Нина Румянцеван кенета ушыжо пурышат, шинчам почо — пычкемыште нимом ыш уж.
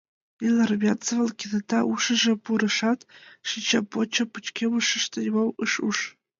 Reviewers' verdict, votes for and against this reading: rejected, 1, 2